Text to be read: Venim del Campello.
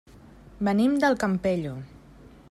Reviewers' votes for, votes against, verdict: 3, 0, accepted